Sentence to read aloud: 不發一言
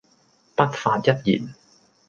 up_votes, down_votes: 2, 0